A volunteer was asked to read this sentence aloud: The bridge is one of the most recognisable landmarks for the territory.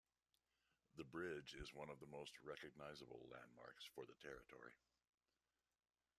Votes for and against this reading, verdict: 2, 1, accepted